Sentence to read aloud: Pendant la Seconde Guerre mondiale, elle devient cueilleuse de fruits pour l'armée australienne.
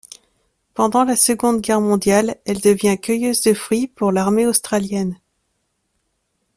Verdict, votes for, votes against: accepted, 2, 0